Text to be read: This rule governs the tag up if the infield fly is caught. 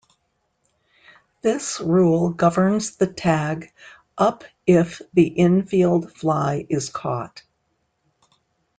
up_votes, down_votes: 2, 0